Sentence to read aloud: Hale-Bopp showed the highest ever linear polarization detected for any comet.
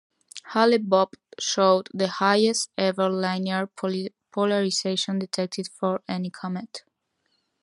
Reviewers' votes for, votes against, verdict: 0, 2, rejected